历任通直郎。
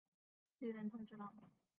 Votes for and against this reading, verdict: 1, 5, rejected